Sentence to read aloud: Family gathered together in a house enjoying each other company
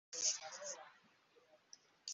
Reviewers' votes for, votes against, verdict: 0, 2, rejected